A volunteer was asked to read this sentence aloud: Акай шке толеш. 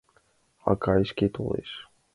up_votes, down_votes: 2, 1